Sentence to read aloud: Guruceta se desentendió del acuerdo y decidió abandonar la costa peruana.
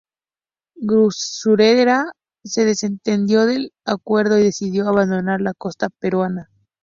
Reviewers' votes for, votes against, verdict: 0, 4, rejected